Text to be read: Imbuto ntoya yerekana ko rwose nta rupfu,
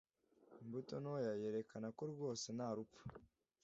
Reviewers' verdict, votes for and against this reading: accepted, 2, 0